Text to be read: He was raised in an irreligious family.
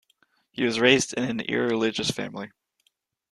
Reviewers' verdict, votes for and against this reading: accepted, 2, 0